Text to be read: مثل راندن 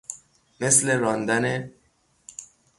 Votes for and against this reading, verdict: 0, 3, rejected